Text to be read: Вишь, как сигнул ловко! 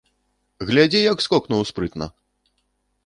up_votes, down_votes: 0, 2